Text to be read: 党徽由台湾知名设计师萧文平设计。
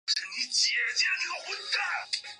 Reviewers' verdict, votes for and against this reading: rejected, 1, 2